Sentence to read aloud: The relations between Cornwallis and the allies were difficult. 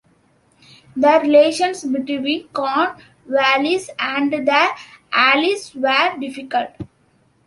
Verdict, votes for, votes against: rejected, 1, 2